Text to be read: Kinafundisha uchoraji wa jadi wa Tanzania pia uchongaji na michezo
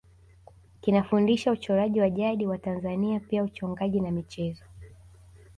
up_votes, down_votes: 7, 0